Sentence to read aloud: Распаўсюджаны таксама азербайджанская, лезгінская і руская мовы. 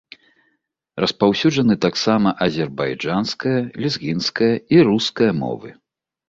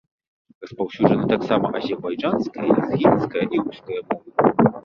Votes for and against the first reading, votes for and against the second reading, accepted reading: 2, 0, 1, 2, first